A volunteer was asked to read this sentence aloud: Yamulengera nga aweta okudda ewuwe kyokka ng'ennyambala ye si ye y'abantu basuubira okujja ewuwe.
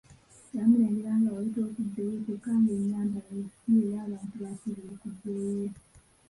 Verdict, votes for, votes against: rejected, 0, 2